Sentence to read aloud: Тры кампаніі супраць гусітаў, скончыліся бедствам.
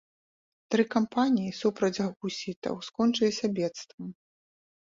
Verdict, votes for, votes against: accepted, 2, 0